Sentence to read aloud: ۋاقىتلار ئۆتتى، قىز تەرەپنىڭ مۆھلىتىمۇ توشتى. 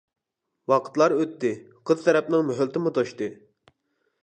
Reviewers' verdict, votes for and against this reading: accepted, 2, 0